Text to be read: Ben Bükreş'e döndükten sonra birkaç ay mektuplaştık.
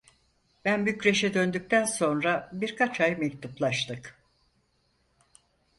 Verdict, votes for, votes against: accepted, 4, 0